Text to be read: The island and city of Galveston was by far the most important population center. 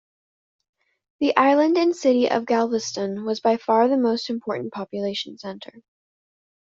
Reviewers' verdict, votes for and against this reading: accepted, 2, 0